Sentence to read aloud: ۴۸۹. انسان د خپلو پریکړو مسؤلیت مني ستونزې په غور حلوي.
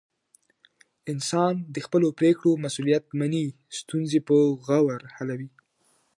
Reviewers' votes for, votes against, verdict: 0, 2, rejected